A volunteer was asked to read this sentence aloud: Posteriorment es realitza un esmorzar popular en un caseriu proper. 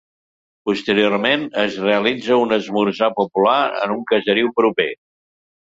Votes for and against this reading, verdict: 3, 0, accepted